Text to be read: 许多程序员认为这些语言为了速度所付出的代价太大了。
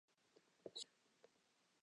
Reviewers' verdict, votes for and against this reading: rejected, 0, 3